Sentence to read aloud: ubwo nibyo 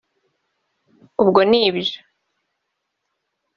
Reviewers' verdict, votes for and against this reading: accepted, 2, 0